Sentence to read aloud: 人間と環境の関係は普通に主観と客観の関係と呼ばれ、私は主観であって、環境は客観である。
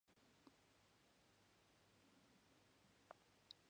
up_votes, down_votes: 0, 2